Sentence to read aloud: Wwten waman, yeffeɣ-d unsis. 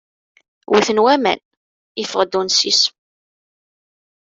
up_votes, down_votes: 2, 0